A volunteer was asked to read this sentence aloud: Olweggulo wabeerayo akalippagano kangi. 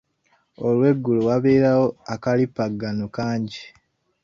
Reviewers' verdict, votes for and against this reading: rejected, 1, 2